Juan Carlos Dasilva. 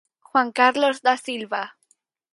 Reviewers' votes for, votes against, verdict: 4, 0, accepted